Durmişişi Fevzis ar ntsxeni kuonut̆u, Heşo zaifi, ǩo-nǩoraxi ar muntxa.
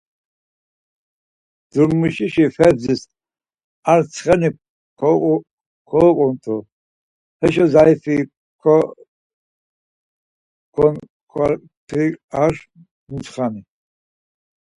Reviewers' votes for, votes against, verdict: 0, 4, rejected